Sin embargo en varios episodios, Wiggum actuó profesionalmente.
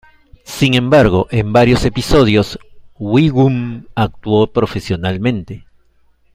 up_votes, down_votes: 2, 0